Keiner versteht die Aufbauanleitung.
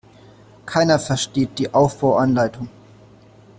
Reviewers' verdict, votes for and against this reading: accepted, 2, 0